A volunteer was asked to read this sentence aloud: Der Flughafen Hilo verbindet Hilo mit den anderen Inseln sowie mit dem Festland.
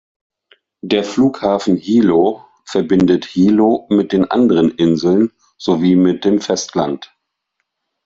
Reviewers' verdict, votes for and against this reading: accepted, 2, 0